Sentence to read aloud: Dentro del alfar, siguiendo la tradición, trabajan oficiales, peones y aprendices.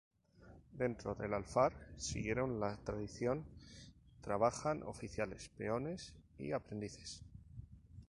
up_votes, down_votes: 4, 4